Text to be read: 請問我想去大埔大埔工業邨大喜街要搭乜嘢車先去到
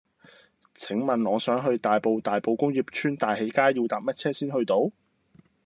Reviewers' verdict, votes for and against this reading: accepted, 2, 1